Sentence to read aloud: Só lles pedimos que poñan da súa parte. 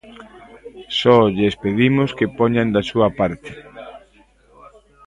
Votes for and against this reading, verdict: 0, 2, rejected